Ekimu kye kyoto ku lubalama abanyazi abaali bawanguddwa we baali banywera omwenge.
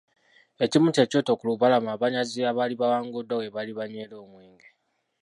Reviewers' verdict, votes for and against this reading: rejected, 0, 2